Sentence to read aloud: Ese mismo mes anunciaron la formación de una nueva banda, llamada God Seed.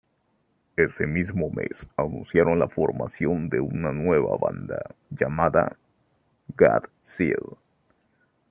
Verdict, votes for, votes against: rejected, 1, 2